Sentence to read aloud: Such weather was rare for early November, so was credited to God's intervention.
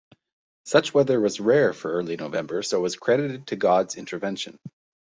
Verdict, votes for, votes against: accepted, 2, 0